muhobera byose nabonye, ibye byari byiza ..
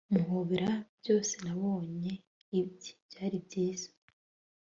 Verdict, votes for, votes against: accepted, 2, 0